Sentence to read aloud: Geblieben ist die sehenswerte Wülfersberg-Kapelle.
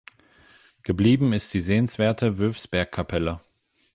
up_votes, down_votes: 0, 8